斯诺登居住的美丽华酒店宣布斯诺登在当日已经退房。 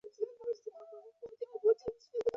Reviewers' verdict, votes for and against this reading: rejected, 0, 2